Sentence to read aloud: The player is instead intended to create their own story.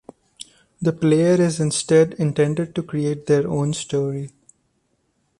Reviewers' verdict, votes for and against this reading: accepted, 2, 0